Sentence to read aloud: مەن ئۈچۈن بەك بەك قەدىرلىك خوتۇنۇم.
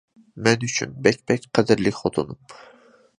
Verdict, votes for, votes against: accepted, 2, 0